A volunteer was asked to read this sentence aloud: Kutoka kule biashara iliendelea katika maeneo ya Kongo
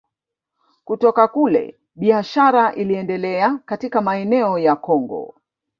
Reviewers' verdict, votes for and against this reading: rejected, 0, 2